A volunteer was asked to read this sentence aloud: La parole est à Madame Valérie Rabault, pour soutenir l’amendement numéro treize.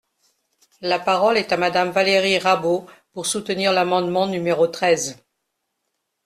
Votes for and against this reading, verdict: 2, 0, accepted